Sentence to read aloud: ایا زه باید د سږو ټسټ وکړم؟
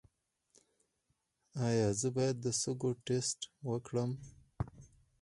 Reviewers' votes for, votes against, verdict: 2, 4, rejected